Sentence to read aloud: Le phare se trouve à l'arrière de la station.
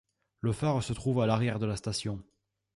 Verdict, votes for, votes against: accepted, 2, 0